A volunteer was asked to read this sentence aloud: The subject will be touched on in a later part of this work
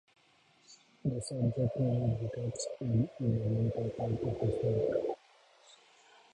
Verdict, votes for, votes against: rejected, 0, 2